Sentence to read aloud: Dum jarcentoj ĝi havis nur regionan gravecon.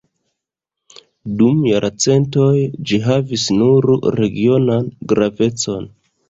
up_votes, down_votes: 1, 2